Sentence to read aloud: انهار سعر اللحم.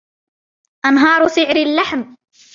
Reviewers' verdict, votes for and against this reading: rejected, 0, 2